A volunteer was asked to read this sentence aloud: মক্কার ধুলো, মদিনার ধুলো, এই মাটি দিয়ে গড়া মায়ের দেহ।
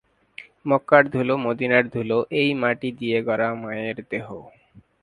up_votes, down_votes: 2, 0